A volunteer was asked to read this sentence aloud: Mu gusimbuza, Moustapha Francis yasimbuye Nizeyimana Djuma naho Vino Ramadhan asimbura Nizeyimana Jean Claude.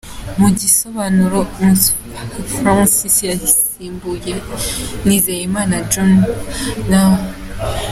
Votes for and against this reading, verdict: 0, 2, rejected